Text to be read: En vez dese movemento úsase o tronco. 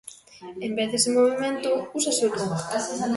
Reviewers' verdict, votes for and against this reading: rejected, 1, 2